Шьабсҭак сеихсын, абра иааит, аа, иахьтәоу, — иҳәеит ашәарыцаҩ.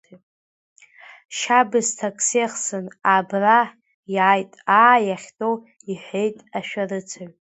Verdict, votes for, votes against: rejected, 1, 2